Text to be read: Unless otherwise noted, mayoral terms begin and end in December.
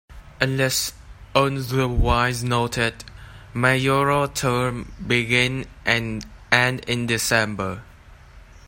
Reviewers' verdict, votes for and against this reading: rejected, 1, 2